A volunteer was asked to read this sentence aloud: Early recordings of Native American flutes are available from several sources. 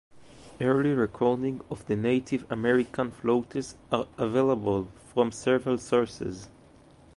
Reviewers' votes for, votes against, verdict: 0, 2, rejected